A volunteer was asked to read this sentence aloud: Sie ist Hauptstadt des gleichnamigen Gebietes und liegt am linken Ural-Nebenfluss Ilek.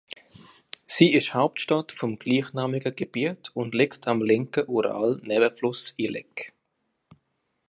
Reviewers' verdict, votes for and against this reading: rejected, 0, 2